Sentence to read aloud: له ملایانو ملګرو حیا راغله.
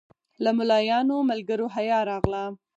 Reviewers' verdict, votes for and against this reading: accepted, 4, 0